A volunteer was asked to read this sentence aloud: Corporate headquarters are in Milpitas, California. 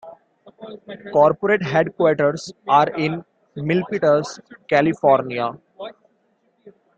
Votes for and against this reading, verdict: 2, 0, accepted